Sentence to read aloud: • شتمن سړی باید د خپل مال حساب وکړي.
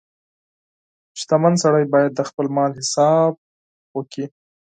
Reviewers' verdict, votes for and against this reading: rejected, 2, 4